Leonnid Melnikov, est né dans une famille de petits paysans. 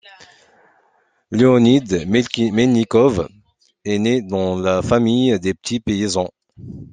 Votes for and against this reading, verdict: 1, 2, rejected